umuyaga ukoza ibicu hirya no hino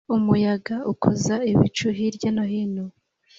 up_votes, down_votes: 2, 0